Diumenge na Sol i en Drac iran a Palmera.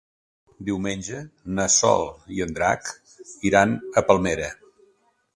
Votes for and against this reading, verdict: 3, 0, accepted